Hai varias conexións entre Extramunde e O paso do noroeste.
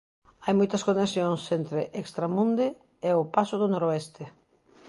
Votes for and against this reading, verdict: 0, 2, rejected